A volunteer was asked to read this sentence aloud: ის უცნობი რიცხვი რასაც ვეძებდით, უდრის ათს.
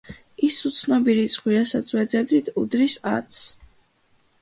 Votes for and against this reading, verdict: 2, 1, accepted